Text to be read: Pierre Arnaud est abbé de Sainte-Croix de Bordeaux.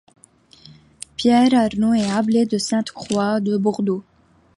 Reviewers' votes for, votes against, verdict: 2, 0, accepted